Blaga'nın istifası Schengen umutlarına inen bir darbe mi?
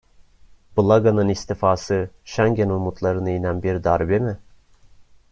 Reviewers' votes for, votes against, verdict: 2, 0, accepted